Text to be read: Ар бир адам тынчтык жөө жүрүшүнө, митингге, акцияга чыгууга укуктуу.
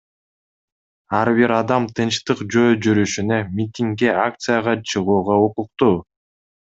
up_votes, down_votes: 2, 0